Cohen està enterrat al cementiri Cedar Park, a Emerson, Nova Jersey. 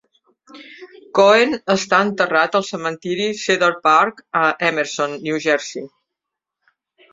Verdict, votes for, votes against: rejected, 0, 2